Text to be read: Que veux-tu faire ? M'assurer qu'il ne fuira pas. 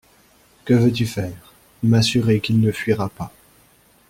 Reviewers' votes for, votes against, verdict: 2, 0, accepted